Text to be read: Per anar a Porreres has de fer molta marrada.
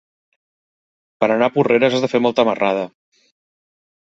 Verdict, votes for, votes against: accepted, 3, 0